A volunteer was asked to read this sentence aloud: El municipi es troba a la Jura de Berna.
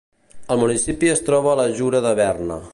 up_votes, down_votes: 2, 0